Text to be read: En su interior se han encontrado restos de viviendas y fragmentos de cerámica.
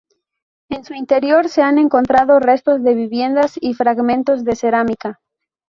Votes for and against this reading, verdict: 2, 0, accepted